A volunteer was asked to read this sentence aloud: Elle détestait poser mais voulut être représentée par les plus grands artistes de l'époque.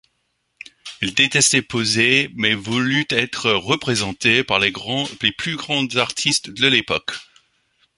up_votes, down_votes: 1, 2